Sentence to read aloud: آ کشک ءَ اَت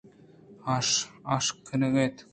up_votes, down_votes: 2, 0